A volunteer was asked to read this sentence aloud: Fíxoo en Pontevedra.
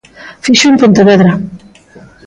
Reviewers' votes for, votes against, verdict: 2, 0, accepted